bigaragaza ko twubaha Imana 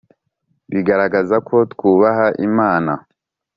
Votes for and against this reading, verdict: 3, 0, accepted